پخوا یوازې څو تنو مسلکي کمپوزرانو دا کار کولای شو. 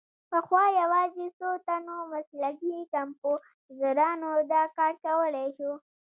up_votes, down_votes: 2, 0